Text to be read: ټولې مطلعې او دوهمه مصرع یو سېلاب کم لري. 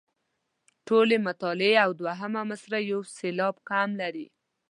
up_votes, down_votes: 2, 0